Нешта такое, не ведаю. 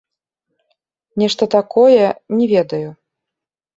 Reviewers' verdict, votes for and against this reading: accepted, 2, 1